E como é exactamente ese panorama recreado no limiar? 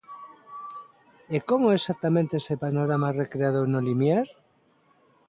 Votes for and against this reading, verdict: 2, 0, accepted